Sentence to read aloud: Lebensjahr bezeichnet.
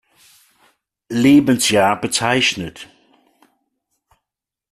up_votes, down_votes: 2, 1